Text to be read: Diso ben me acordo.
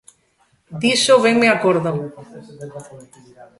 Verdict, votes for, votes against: rejected, 0, 2